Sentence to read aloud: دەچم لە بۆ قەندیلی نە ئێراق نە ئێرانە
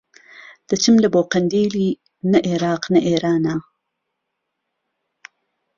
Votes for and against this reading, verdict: 2, 0, accepted